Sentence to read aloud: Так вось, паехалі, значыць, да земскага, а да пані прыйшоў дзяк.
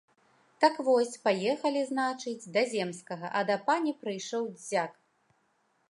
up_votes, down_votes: 2, 0